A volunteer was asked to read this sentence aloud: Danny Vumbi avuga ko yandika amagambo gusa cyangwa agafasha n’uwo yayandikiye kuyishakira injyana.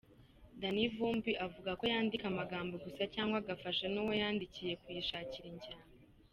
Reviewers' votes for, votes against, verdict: 2, 0, accepted